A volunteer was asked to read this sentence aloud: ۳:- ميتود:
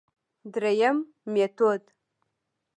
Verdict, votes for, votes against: rejected, 0, 2